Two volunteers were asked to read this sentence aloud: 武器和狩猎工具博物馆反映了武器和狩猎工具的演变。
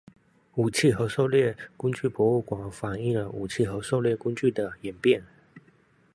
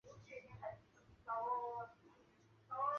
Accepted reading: first